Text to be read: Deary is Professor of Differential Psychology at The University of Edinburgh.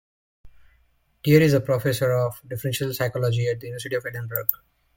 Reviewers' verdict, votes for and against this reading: rejected, 0, 2